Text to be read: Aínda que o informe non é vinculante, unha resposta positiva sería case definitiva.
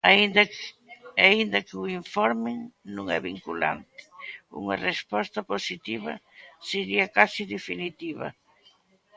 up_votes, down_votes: 0, 2